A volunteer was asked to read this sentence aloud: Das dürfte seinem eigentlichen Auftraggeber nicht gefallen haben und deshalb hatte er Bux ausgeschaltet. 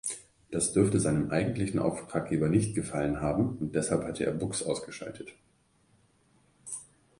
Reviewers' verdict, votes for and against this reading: accepted, 2, 0